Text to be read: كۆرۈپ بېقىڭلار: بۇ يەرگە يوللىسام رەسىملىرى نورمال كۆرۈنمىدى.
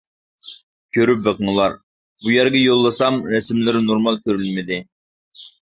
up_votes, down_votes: 2, 0